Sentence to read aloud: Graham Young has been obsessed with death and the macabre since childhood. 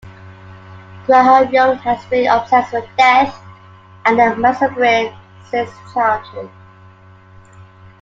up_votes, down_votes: 2, 1